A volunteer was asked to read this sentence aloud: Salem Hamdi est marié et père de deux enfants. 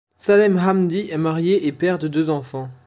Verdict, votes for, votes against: accepted, 2, 0